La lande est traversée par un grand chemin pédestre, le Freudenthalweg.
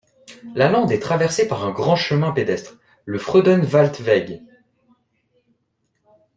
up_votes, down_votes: 0, 2